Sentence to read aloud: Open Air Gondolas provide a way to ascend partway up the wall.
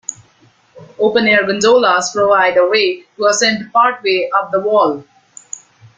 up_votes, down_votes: 2, 0